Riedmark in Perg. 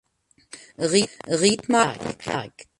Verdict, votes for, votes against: rejected, 0, 2